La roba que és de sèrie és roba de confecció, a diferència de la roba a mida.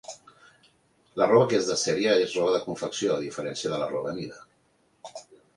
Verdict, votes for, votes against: accepted, 2, 0